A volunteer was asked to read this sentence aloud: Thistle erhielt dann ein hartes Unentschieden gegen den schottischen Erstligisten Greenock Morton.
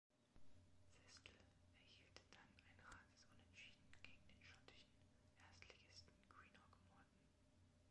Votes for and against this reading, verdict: 1, 3, rejected